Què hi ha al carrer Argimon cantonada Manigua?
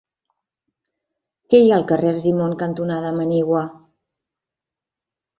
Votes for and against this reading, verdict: 2, 0, accepted